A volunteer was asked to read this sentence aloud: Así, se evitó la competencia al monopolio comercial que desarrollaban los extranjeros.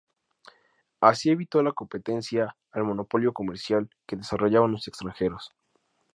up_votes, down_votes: 2, 0